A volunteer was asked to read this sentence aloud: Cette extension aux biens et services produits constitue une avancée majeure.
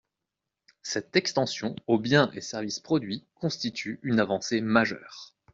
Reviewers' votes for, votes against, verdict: 2, 0, accepted